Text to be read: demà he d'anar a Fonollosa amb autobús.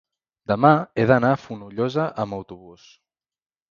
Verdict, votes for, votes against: accepted, 2, 0